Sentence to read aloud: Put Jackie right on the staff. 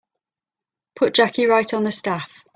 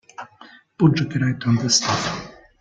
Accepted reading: first